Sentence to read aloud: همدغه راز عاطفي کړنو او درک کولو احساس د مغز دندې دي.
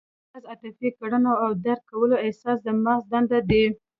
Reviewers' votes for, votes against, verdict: 0, 2, rejected